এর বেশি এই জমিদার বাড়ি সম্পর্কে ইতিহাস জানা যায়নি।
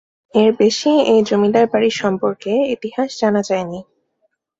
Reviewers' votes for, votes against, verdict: 3, 0, accepted